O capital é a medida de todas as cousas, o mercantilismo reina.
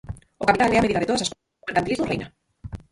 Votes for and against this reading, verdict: 0, 4, rejected